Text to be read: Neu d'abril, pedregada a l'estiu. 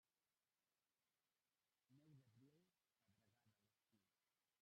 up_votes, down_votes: 0, 2